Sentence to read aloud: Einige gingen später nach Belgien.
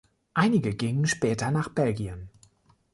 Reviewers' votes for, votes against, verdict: 2, 0, accepted